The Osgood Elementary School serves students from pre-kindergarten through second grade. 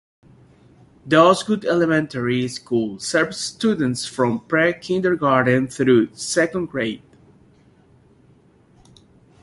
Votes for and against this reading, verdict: 2, 0, accepted